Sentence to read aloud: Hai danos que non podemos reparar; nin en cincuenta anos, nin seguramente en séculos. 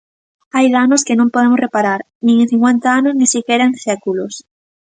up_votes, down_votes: 1, 2